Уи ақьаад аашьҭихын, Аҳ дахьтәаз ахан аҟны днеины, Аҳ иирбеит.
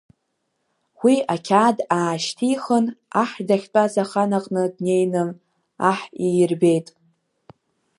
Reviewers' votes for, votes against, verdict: 3, 0, accepted